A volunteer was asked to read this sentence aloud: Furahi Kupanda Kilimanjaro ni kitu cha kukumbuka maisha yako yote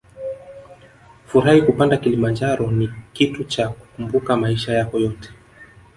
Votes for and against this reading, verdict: 2, 0, accepted